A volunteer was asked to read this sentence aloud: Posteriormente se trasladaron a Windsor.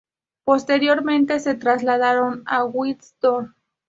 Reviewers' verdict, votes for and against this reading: rejected, 0, 2